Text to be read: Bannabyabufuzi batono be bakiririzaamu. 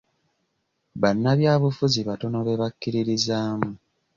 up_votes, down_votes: 2, 0